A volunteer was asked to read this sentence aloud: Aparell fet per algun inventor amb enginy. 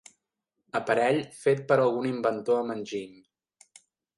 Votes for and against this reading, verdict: 5, 0, accepted